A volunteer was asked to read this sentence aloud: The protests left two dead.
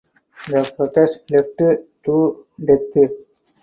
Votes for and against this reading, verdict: 0, 2, rejected